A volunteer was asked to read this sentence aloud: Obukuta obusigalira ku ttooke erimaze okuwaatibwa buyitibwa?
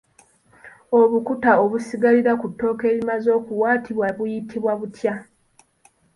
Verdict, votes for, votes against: rejected, 1, 2